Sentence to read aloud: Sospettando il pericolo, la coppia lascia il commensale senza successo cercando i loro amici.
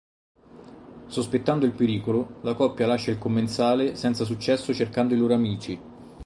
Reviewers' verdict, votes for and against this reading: rejected, 2, 2